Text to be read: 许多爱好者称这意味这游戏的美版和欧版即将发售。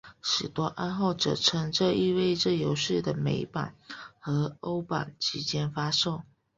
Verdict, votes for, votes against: accepted, 2, 0